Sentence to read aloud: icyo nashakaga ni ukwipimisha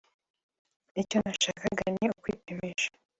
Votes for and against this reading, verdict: 3, 0, accepted